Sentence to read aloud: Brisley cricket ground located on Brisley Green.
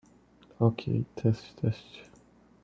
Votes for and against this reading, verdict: 0, 2, rejected